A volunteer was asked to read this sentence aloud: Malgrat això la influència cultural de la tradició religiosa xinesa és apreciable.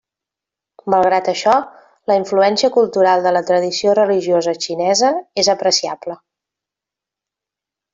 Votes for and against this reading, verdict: 3, 0, accepted